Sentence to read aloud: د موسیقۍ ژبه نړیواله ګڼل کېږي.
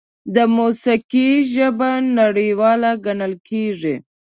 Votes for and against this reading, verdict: 2, 0, accepted